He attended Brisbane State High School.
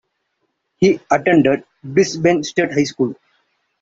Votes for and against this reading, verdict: 2, 0, accepted